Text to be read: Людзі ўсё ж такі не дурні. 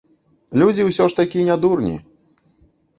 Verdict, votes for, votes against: accepted, 2, 0